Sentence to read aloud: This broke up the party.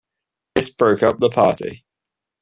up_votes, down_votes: 2, 0